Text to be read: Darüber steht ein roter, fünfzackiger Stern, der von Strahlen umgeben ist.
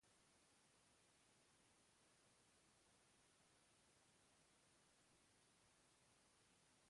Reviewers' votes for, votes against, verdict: 1, 2, rejected